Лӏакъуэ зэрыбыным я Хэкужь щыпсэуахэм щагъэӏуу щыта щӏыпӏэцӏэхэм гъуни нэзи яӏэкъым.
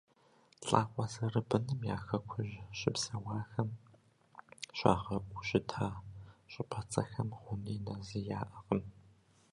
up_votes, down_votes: 1, 2